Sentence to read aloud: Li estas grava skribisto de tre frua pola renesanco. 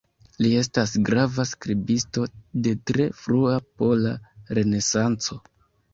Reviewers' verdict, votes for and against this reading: accepted, 2, 1